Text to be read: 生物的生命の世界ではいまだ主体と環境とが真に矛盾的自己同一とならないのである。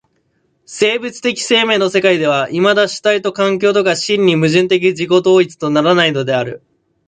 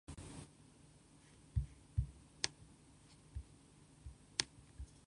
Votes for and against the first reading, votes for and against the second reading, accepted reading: 2, 0, 0, 2, first